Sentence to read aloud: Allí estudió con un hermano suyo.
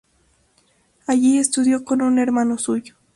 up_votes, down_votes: 2, 0